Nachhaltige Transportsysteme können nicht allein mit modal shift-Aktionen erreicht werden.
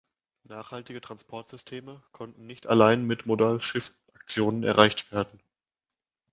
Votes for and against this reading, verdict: 1, 2, rejected